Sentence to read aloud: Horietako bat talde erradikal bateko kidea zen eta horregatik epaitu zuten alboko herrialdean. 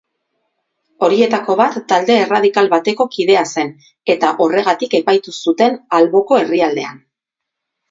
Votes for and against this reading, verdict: 4, 0, accepted